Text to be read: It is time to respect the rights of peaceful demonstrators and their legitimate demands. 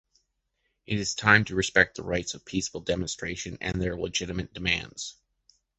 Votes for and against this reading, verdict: 0, 2, rejected